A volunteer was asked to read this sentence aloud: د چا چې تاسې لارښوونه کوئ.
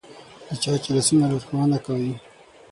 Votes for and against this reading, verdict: 0, 6, rejected